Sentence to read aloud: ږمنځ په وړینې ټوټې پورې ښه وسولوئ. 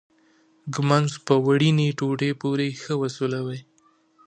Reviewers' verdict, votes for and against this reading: accepted, 2, 0